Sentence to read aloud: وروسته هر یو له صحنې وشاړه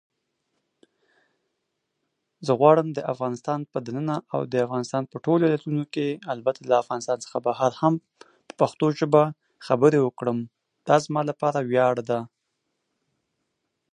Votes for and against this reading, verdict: 0, 2, rejected